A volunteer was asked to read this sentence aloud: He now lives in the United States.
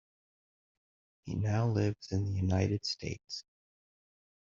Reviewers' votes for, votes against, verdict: 2, 1, accepted